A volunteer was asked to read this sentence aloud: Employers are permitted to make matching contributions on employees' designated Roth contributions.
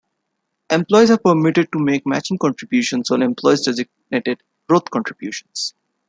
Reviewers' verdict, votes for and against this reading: rejected, 1, 2